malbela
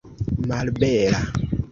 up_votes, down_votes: 2, 0